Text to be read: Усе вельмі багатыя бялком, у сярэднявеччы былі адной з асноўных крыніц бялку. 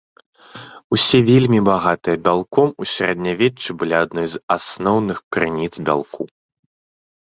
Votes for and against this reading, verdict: 3, 0, accepted